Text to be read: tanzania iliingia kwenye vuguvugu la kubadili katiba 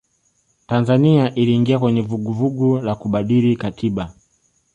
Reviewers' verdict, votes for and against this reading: accepted, 2, 0